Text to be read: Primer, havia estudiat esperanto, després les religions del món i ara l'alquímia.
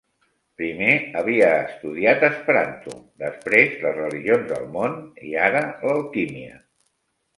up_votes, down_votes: 3, 0